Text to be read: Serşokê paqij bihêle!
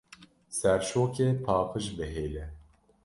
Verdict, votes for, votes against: accepted, 2, 0